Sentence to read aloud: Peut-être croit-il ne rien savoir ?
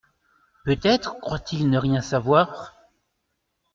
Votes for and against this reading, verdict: 2, 0, accepted